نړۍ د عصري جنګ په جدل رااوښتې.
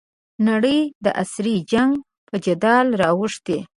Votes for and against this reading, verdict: 2, 3, rejected